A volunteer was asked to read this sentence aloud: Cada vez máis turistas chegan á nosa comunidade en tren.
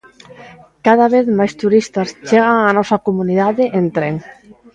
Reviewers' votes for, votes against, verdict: 2, 0, accepted